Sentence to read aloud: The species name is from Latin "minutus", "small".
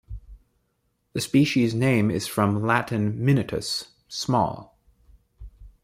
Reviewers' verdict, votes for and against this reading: accepted, 2, 0